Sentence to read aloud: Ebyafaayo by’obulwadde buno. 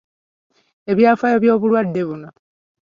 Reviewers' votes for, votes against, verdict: 4, 1, accepted